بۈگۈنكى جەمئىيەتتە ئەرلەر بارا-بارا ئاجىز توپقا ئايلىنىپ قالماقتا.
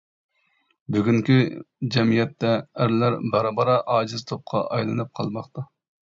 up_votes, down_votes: 2, 0